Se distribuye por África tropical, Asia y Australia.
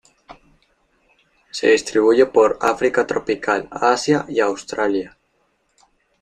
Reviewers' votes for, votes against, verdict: 2, 0, accepted